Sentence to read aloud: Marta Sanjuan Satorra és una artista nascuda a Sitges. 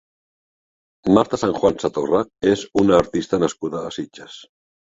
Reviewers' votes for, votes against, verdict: 3, 0, accepted